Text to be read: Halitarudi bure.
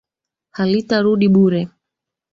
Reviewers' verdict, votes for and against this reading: accepted, 3, 2